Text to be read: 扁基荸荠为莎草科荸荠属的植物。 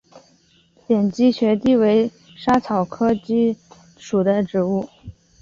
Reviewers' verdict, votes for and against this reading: rejected, 0, 2